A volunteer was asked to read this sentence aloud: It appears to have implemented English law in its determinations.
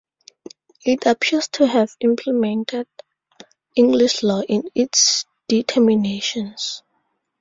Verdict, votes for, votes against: accepted, 2, 0